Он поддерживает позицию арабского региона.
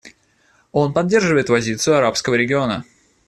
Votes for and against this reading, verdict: 1, 2, rejected